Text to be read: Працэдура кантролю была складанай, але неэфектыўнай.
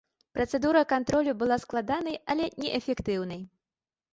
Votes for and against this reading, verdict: 2, 0, accepted